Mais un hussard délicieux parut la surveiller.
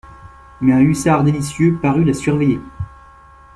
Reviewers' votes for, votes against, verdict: 2, 0, accepted